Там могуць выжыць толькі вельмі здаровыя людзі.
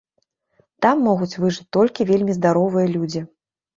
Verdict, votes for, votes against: accepted, 2, 0